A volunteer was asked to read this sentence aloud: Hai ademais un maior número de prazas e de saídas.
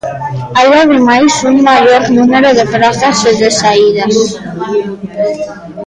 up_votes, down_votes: 1, 2